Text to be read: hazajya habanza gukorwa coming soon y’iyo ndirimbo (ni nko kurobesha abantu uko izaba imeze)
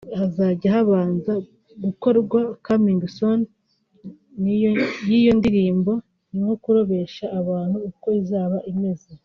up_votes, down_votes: 1, 3